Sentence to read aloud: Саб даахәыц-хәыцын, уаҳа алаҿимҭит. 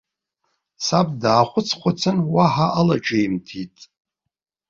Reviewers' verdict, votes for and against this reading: rejected, 1, 2